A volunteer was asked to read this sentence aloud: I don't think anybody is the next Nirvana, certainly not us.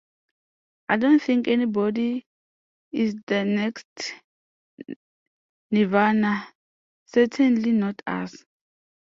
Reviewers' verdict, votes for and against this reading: rejected, 1, 2